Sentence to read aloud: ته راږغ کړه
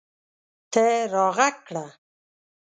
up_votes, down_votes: 2, 0